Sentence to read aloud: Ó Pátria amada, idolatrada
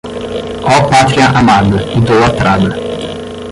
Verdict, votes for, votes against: rejected, 5, 10